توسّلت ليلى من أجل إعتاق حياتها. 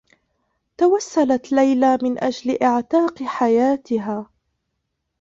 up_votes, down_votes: 0, 2